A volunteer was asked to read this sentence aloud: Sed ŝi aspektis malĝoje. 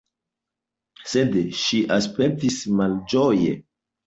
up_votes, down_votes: 2, 0